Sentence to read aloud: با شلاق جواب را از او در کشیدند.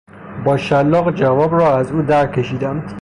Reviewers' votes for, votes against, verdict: 0, 3, rejected